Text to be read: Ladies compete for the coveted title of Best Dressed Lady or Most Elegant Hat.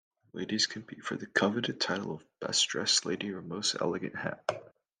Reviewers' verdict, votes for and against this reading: accepted, 3, 0